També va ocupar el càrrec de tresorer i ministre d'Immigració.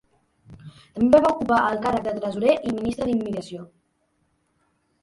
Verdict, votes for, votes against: rejected, 0, 2